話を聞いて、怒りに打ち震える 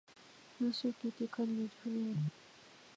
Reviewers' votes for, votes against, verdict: 0, 2, rejected